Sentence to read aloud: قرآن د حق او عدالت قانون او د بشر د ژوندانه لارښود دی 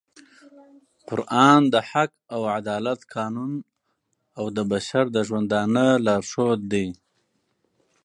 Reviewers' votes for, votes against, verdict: 4, 0, accepted